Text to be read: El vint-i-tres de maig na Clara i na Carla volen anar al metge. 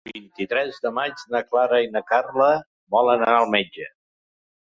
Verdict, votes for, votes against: rejected, 0, 2